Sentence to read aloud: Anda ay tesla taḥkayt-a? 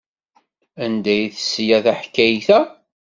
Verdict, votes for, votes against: accepted, 2, 0